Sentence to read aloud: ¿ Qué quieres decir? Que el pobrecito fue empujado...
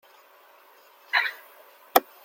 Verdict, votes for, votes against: rejected, 0, 2